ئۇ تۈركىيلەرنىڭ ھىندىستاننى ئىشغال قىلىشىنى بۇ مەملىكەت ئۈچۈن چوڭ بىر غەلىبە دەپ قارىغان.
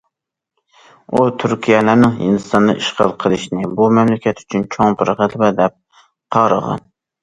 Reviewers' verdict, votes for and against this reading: rejected, 1, 2